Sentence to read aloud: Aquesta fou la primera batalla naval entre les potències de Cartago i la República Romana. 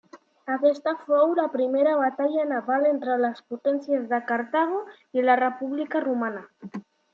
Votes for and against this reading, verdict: 2, 0, accepted